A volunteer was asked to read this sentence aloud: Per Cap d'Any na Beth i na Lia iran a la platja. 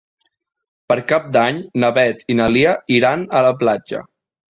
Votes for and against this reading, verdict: 3, 0, accepted